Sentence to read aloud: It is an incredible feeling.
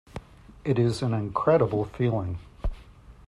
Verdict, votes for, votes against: accepted, 2, 0